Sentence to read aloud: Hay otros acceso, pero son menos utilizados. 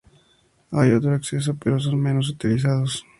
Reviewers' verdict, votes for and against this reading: accepted, 2, 0